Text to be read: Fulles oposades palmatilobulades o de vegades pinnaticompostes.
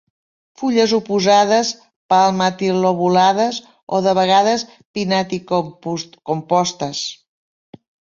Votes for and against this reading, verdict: 1, 2, rejected